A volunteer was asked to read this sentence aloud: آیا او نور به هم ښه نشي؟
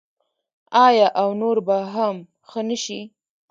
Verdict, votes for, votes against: rejected, 0, 2